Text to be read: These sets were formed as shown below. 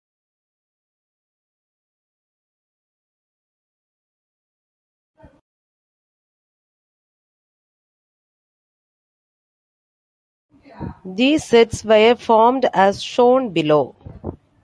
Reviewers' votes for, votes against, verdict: 0, 2, rejected